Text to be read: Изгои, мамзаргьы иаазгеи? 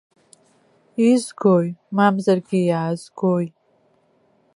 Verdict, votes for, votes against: rejected, 0, 2